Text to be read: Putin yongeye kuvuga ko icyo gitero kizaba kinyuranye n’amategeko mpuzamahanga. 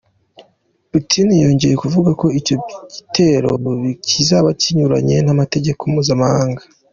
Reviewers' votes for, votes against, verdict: 2, 1, accepted